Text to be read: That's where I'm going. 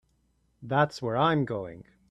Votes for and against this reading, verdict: 3, 0, accepted